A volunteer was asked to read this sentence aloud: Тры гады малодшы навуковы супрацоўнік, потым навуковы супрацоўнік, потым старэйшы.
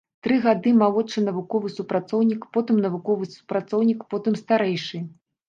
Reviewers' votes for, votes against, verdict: 2, 0, accepted